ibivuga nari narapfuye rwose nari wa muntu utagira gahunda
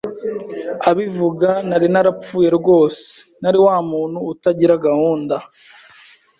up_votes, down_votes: 0, 2